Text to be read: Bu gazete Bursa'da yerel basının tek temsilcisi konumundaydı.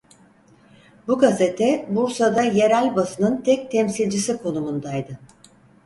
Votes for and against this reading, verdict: 4, 0, accepted